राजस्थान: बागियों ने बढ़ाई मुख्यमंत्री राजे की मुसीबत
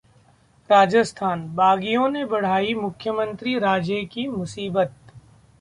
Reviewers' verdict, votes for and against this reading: accepted, 2, 0